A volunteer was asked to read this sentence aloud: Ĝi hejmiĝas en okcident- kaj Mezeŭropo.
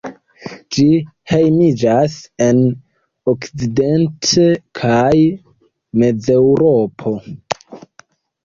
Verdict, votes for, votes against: rejected, 0, 2